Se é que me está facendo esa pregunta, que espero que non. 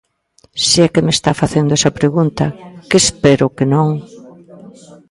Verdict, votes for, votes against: rejected, 0, 2